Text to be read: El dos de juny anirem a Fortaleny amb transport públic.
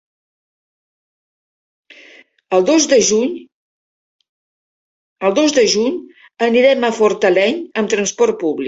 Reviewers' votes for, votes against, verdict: 0, 3, rejected